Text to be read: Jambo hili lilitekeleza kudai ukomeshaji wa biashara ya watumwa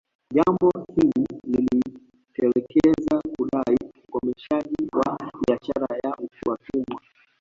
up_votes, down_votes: 0, 2